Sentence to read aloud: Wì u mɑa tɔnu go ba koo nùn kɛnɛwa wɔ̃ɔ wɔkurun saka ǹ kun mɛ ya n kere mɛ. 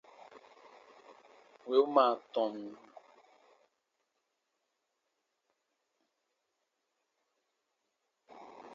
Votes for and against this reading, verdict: 0, 2, rejected